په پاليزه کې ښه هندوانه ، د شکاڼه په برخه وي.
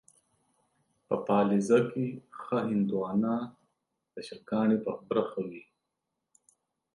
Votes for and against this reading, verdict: 2, 0, accepted